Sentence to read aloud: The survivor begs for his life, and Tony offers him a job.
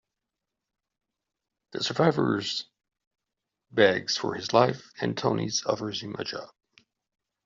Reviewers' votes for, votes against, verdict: 1, 2, rejected